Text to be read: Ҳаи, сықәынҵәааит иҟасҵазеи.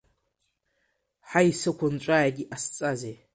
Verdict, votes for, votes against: accepted, 2, 0